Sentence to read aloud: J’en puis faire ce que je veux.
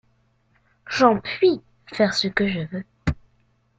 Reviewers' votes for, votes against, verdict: 2, 0, accepted